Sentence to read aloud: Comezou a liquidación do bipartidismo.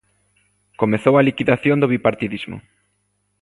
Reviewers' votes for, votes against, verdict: 2, 0, accepted